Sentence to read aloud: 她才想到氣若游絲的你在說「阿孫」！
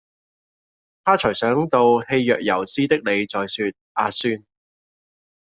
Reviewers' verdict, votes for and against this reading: accepted, 2, 0